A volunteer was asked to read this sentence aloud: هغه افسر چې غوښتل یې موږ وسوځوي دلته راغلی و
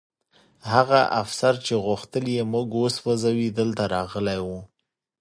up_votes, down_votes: 2, 0